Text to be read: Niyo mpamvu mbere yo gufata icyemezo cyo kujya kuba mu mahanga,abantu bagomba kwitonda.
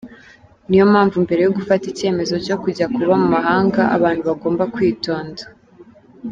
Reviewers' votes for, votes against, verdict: 2, 0, accepted